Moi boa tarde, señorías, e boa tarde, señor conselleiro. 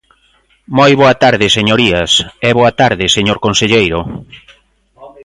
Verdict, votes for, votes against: rejected, 1, 2